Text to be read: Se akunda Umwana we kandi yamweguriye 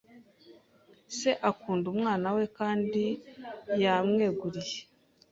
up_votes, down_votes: 2, 0